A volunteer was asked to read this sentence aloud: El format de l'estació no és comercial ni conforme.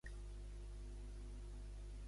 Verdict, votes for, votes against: rejected, 0, 3